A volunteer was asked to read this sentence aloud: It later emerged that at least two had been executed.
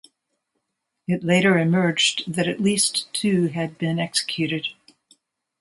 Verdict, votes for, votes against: accepted, 2, 0